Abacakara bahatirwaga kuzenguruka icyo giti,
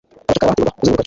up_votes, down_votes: 1, 2